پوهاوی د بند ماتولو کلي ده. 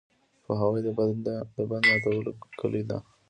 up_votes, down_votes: 2, 0